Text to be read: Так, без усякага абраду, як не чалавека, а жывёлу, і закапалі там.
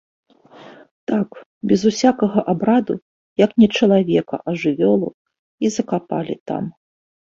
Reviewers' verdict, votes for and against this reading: accepted, 2, 0